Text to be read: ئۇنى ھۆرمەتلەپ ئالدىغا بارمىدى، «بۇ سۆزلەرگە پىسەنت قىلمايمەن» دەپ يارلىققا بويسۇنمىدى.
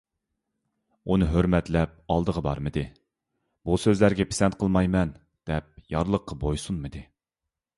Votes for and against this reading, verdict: 2, 1, accepted